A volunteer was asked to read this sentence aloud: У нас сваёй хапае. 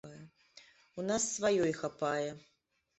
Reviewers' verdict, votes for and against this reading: accepted, 2, 0